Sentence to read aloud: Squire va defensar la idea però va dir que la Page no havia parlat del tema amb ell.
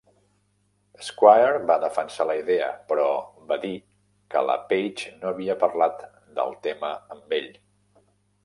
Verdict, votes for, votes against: accepted, 3, 0